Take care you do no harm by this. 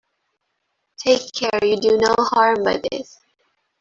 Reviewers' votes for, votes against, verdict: 2, 1, accepted